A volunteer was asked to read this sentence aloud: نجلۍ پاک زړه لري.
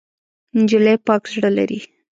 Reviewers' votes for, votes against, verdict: 2, 0, accepted